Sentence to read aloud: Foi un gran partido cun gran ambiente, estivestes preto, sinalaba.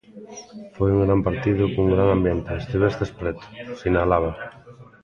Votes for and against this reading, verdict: 1, 2, rejected